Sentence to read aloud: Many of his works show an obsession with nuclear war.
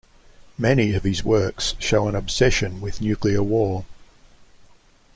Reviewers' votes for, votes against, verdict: 2, 0, accepted